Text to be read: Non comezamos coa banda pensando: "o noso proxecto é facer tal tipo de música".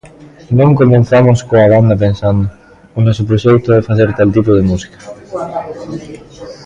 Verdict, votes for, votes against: rejected, 0, 2